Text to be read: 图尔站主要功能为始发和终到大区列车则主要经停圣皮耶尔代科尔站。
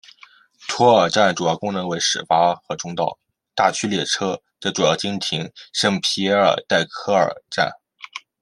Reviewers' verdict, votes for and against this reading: accepted, 2, 0